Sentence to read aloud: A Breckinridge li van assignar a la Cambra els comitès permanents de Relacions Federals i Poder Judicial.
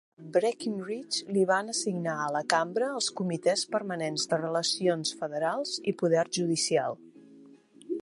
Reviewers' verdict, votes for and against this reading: rejected, 2, 4